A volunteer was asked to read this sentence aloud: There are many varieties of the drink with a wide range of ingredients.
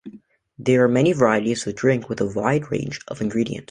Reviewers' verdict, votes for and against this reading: rejected, 2, 4